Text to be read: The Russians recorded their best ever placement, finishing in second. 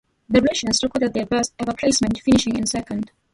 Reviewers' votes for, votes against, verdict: 2, 0, accepted